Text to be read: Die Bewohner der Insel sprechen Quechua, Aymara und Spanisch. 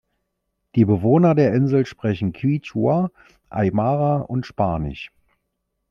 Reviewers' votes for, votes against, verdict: 2, 0, accepted